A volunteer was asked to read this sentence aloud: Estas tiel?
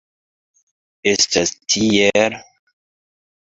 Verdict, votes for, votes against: accepted, 2, 0